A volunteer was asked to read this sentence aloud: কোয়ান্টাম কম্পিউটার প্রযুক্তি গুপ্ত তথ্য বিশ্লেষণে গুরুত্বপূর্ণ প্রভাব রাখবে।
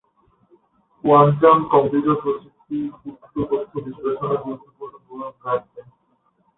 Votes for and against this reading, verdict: 5, 6, rejected